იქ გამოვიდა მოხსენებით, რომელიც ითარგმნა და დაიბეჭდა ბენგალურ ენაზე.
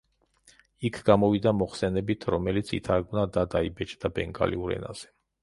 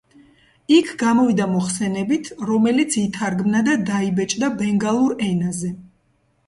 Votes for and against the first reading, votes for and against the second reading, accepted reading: 0, 2, 2, 1, second